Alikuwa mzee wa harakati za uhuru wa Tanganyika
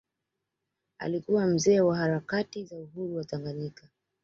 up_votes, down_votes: 2, 1